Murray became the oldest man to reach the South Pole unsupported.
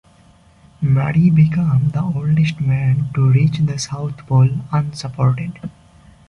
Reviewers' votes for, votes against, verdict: 0, 2, rejected